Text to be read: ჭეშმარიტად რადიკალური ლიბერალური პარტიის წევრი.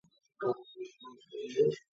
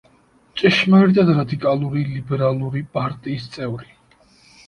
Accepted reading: second